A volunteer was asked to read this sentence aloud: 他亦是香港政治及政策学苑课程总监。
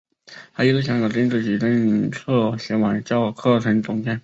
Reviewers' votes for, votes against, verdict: 1, 5, rejected